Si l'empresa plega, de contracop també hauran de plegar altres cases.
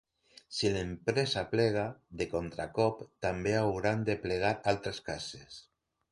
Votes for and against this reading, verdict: 3, 0, accepted